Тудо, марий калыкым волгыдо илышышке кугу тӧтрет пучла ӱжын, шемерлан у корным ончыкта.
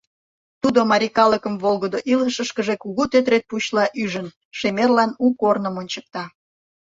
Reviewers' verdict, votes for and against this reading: rejected, 0, 2